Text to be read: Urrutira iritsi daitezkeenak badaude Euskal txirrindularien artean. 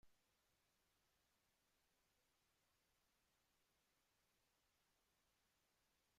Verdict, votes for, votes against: rejected, 1, 2